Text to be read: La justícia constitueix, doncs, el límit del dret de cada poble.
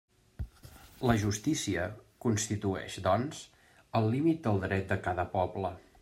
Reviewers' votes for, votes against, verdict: 3, 0, accepted